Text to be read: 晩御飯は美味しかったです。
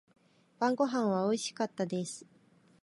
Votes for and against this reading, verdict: 0, 2, rejected